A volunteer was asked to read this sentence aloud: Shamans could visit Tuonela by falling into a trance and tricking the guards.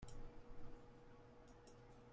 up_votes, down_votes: 0, 2